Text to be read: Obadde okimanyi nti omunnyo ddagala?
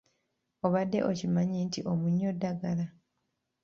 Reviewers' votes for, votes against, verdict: 2, 0, accepted